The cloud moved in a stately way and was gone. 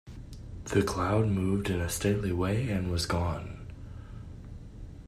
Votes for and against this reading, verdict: 2, 0, accepted